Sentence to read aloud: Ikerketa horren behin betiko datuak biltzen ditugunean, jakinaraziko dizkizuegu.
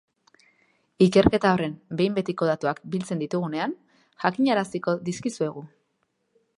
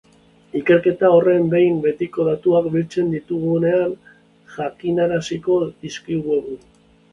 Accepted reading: first